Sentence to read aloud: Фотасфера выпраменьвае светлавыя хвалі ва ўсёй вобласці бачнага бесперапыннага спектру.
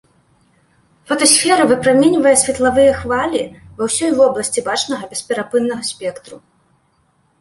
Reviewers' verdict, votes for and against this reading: accepted, 2, 0